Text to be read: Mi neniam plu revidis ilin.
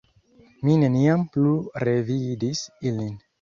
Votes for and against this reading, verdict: 2, 0, accepted